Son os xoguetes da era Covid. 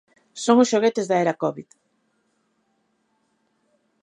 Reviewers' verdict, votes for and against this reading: accepted, 2, 0